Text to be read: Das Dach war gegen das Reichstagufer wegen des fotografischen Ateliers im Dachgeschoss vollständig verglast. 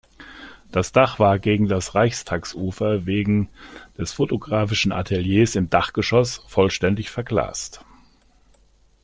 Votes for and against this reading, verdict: 2, 0, accepted